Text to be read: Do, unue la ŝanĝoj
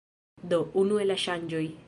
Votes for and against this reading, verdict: 2, 1, accepted